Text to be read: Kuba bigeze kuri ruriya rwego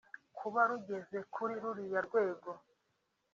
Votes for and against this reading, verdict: 2, 0, accepted